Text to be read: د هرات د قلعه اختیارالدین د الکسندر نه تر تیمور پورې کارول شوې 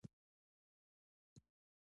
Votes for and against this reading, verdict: 1, 2, rejected